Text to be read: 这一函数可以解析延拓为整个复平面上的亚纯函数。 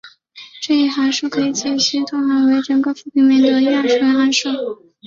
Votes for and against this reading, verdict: 4, 1, accepted